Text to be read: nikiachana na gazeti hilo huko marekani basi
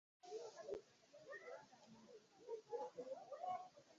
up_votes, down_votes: 0, 2